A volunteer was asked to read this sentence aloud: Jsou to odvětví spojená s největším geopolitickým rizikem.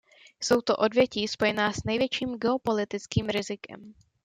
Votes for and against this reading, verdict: 1, 2, rejected